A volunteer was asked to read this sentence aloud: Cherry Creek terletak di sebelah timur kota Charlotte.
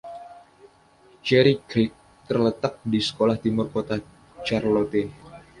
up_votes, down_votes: 2, 0